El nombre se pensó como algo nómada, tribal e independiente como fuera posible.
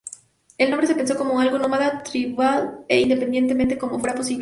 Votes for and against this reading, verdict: 0, 4, rejected